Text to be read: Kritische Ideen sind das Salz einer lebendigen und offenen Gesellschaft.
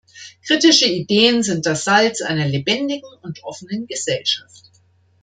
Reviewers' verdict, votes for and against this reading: accepted, 2, 0